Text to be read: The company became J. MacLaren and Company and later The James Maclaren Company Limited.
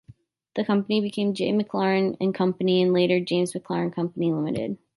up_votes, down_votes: 1, 2